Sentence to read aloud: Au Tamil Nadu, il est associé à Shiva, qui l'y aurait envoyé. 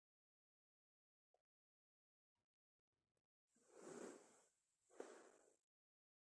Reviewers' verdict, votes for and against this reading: rejected, 0, 2